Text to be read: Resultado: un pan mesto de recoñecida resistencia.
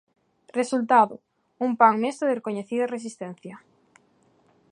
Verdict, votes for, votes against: accepted, 3, 0